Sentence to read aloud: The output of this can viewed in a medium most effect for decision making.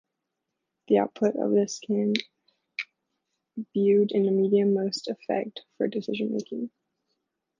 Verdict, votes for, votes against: rejected, 0, 2